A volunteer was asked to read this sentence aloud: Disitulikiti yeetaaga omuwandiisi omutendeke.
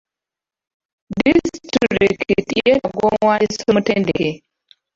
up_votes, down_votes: 0, 2